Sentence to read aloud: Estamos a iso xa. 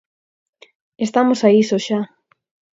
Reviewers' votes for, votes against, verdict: 4, 0, accepted